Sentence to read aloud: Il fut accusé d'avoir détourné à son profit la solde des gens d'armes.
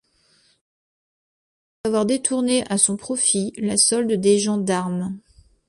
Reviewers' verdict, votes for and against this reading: rejected, 1, 2